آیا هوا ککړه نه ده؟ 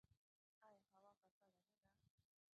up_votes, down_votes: 1, 2